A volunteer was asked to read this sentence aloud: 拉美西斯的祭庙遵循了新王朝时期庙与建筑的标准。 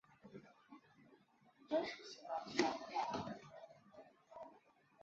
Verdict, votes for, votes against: rejected, 1, 4